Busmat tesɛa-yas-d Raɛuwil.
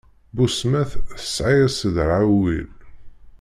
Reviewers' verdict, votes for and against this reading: rejected, 0, 2